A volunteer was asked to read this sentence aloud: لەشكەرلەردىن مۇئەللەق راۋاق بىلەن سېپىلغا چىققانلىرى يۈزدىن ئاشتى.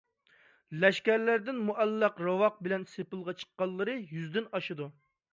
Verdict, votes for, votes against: rejected, 1, 2